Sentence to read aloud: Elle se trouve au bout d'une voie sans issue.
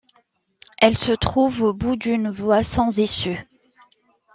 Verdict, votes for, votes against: accepted, 2, 0